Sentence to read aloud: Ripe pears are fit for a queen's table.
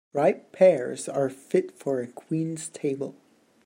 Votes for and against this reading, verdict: 2, 1, accepted